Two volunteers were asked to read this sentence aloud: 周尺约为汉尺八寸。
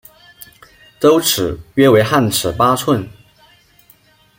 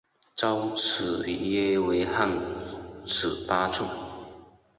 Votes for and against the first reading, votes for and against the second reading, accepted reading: 2, 0, 0, 2, first